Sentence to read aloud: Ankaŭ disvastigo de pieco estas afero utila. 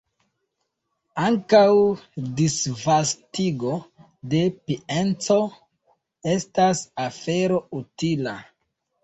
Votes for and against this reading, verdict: 1, 2, rejected